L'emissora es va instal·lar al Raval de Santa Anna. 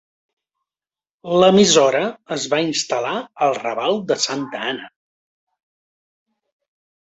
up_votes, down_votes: 3, 0